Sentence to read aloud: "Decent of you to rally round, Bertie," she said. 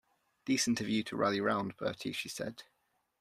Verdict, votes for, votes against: accepted, 2, 0